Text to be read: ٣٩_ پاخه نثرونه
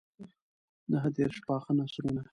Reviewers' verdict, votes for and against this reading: rejected, 0, 2